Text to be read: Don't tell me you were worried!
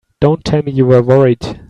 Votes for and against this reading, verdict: 0, 2, rejected